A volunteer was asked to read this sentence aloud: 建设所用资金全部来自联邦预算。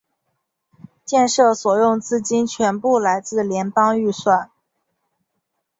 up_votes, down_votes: 2, 0